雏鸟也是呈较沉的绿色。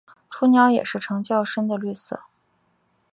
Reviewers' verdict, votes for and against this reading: accepted, 4, 0